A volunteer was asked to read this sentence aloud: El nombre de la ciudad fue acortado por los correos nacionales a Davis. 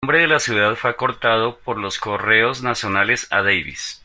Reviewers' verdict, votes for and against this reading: rejected, 0, 2